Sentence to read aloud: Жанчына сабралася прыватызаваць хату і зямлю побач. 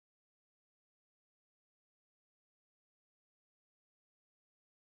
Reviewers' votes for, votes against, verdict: 0, 2, rejected